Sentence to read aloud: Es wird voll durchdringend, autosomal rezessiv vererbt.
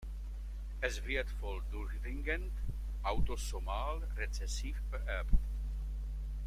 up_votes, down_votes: 2, 0